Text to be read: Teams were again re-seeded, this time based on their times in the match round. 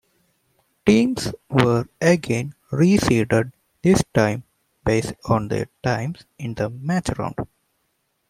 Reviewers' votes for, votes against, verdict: 2, 1, accepted